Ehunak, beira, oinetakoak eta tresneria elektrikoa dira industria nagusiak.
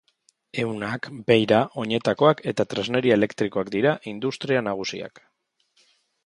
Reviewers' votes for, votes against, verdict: 2, 1, accepted